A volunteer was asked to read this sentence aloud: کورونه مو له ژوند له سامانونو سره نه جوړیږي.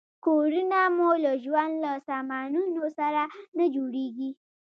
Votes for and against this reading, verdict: 2, 0, accepted